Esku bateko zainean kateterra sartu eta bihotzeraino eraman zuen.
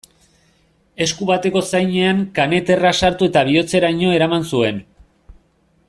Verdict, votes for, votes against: rejected, 0, 2